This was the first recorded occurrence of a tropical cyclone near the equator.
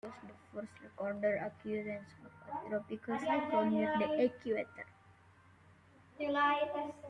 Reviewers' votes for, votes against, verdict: 0, 2, rejected